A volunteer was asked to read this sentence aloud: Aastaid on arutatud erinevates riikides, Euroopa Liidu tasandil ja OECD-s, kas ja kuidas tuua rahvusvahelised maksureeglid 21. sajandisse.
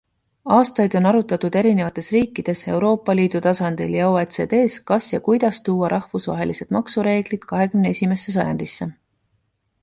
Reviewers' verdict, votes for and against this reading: rejected, 0, 2